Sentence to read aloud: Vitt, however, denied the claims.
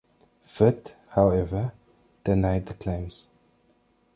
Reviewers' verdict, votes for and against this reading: accepted, 2, 0